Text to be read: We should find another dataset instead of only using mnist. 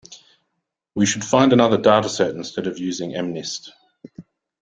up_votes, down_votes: 1, 2